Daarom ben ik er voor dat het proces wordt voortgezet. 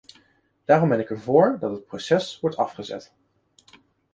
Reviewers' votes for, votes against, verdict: 0, 2, rejected